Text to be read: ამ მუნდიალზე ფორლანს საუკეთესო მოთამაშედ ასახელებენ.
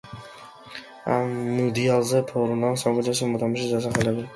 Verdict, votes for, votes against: accepted, 2, 1